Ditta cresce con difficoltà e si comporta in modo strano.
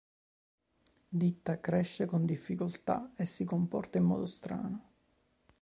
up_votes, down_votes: 2, 0